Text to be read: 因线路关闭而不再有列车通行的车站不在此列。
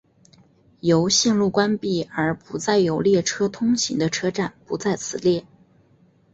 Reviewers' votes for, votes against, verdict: 4, 0, accepted